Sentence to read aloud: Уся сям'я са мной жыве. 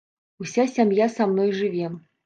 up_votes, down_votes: 1, 2